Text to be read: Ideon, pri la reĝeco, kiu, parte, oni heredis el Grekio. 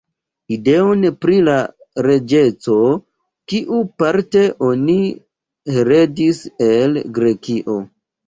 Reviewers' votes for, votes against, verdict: 2, 1, accepted